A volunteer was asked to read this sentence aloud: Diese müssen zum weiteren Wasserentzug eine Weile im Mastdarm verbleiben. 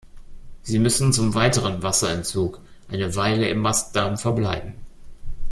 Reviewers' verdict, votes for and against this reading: rejected, 1, 2